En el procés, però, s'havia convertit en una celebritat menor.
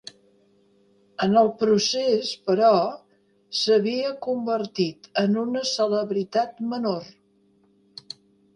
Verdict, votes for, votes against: accepted, 3, 0